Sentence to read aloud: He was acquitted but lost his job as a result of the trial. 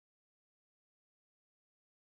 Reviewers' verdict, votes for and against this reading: rejected, 0, 2